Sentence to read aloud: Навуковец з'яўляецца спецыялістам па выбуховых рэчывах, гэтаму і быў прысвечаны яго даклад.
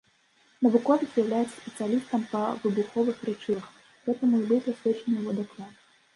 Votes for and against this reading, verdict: 1, 2, rejected